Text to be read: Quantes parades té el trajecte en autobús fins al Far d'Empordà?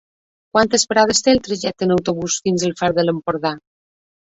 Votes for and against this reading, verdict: 0, 2, rejected